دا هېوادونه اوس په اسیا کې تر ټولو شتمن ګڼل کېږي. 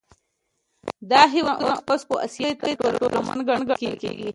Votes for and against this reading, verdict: 0, 2, rejected